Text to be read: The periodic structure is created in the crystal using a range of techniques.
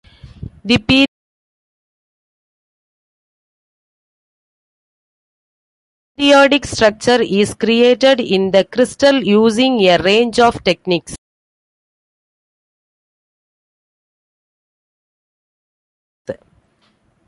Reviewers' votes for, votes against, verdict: 1, 2, rejected